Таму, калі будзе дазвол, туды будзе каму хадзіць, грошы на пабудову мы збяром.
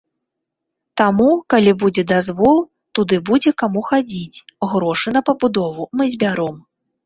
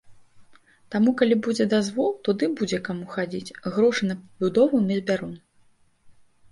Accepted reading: first